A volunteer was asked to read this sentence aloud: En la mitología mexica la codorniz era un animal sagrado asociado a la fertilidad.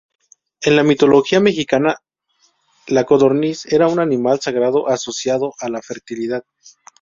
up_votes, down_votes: 0, 2